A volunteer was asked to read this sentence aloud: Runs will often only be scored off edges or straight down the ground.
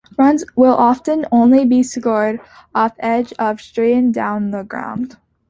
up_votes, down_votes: 1, 2